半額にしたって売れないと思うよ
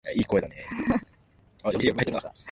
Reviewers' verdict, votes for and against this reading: rejected, 0, 2